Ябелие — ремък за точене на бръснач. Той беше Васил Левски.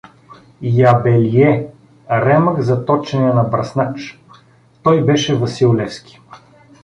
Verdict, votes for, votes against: accepted, 2, 0